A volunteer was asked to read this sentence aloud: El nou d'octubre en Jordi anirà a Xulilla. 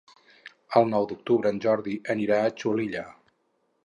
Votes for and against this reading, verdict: 2, 2, rejected